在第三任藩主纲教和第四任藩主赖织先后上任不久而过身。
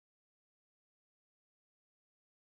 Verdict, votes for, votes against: rejected, 1, 4